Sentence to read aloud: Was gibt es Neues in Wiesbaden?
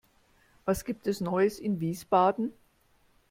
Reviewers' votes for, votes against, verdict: 2, 0, accepted